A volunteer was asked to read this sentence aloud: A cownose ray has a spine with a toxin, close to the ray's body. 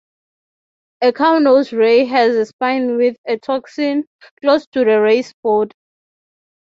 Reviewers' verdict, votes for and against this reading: accepted, 3, 0